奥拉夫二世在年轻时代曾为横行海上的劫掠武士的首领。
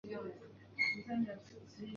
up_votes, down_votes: 0, 2